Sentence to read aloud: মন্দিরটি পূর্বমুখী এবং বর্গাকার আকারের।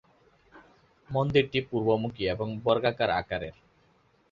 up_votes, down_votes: 1, 2